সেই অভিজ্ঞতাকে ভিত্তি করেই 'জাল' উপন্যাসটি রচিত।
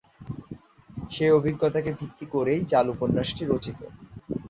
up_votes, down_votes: 2, 0